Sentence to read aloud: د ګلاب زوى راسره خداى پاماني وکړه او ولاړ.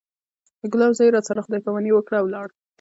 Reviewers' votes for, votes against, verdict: 1, 2, rejected